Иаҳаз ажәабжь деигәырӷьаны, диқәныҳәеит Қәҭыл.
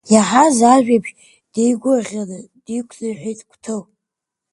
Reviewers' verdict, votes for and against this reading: accepted, 2, 0